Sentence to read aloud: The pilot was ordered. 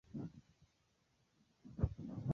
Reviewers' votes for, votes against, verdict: 0, 2, rejected